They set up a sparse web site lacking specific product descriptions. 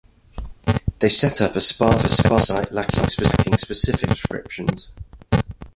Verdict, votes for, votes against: rejected, 0, 2